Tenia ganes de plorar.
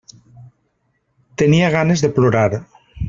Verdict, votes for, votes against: accepted, 3, 0